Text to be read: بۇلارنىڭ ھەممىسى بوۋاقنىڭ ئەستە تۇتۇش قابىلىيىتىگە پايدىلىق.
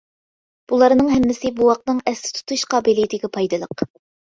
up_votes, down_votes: 2, 0